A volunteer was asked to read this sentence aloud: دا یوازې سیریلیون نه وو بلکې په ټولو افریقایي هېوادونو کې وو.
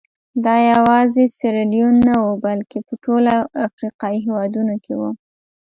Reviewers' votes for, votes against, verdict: 2, 1, accepted